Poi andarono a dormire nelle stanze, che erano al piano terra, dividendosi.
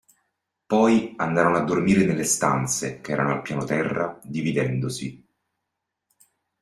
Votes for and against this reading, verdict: 2, 0, accepted